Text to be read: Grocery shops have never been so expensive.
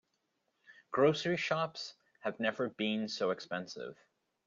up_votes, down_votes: 2, 0